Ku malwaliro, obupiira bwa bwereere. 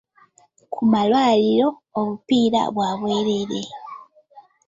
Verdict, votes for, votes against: accepted, 2, 0